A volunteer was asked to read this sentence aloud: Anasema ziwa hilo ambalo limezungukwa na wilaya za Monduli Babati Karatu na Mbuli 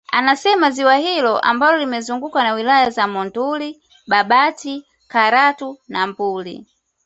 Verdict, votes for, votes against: accepted, 2, 0